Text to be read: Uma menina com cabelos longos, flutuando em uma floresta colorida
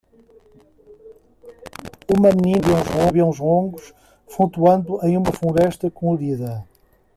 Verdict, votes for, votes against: rejected, 0, 3